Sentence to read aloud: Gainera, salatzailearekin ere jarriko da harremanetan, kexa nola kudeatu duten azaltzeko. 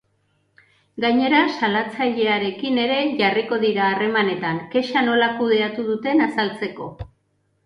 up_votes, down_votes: 1, 2